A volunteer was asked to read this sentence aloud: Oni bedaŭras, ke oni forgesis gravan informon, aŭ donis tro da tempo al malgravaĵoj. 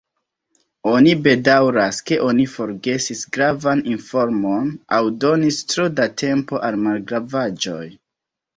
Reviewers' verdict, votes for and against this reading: rejected, 1, 2